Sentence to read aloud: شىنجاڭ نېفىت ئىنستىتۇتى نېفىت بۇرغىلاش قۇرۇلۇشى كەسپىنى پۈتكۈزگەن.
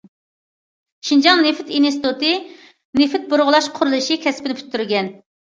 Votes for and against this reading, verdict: 0, 2, rejected